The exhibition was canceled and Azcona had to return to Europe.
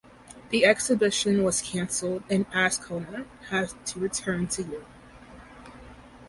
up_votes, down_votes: 0, 2